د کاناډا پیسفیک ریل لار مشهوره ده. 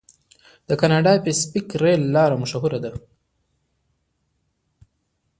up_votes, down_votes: 2, 0